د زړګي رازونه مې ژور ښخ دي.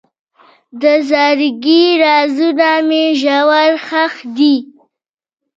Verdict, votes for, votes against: rejected, 1, 2